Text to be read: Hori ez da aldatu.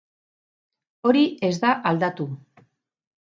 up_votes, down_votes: 2, 2